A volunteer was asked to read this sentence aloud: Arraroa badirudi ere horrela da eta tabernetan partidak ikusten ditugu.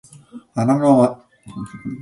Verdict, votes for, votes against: rejected, 0, 2